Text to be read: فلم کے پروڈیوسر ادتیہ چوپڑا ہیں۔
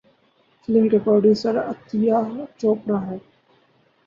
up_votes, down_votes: 2, 2